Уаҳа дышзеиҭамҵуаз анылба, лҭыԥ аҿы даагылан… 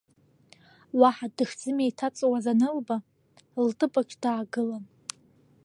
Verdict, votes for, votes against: rejected, 1, 2